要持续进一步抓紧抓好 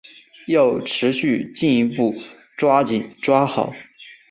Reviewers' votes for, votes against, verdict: 2, 2, rejected